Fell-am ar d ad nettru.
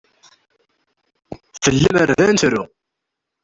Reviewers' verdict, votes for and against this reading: rejected, 0, 2